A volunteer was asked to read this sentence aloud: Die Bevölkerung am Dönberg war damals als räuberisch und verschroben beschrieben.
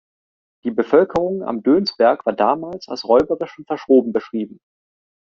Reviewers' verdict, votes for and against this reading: rejected, 0, 2